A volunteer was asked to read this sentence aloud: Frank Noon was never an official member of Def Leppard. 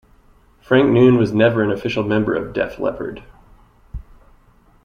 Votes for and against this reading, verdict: 2, 0, accepted